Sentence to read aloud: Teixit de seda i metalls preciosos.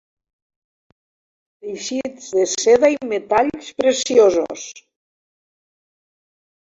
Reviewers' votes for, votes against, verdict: 1, 2, rejected